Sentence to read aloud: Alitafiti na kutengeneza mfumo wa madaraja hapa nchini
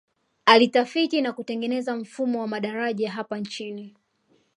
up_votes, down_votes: 2, 0